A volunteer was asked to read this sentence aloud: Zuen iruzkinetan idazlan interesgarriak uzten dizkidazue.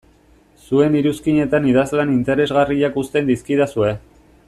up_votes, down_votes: 2, 0